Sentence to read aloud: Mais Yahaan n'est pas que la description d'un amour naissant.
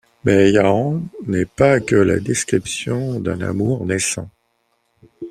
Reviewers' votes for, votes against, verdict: 2, 0, accepted